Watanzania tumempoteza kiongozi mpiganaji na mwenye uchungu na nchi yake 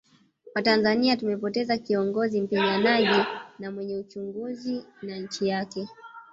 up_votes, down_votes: 0, 3